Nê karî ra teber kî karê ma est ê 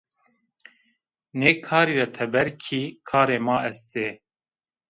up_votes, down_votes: 1, 2